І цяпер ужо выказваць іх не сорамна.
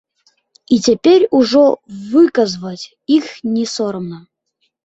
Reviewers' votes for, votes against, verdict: 1, 2, rejected